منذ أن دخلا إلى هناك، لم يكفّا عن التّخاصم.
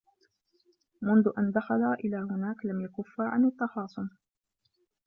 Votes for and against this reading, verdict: 0, 2, rejected